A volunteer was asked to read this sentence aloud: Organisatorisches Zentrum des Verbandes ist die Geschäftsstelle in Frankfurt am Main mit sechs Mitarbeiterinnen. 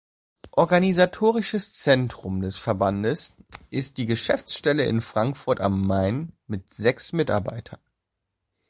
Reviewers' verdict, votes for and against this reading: rejected, 1, 2